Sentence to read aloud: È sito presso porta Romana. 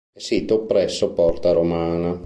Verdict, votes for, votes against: rejected, 2, 3